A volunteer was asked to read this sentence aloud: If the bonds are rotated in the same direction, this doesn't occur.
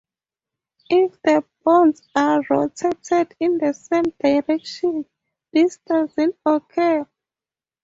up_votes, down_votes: 2, 0